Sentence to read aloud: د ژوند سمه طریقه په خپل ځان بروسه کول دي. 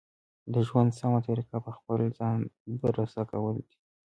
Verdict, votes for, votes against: accepted, 2, 0